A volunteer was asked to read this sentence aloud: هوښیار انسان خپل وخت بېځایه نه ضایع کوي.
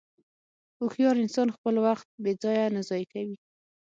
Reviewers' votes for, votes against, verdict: 6, 0, accepted